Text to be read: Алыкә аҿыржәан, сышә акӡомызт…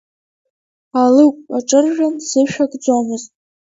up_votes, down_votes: 2, 1